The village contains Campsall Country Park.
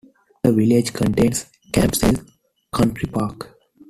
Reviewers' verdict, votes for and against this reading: accepted, 2, 1